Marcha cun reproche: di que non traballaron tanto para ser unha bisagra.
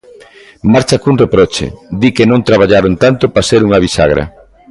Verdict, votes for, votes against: rejected, 1, 2